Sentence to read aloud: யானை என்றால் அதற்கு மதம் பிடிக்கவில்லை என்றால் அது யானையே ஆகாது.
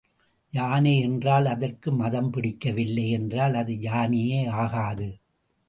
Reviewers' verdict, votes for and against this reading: accepted, 2, 0